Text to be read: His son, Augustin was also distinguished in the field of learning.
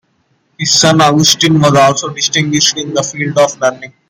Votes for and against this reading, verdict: 2, 0, accepted